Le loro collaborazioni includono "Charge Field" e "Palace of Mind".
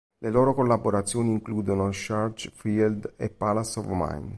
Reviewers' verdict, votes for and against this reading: accepted, 2, 0